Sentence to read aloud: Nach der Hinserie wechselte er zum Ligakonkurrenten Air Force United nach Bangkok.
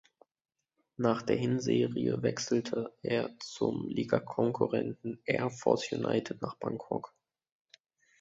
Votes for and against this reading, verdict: 2, 1, accepted